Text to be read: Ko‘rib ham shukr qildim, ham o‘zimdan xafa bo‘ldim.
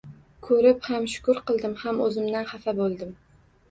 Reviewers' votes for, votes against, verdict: 1, 2, rejected